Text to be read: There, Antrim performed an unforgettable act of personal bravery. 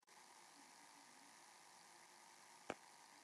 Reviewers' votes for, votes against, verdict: 0, 2, rejected